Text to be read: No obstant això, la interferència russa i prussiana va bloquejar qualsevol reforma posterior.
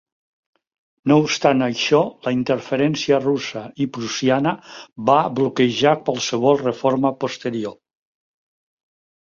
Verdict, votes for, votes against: accepted, 3, 0